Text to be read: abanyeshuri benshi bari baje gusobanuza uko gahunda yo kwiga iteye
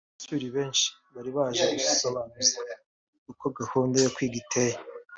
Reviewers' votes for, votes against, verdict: 3, 2, accepted